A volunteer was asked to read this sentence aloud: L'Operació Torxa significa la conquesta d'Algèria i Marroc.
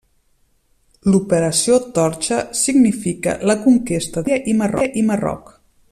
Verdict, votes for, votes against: rejected, 0, 2